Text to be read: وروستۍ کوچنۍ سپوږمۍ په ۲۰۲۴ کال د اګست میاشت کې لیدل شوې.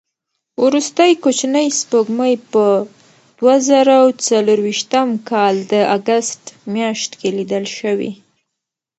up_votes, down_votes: 0, 2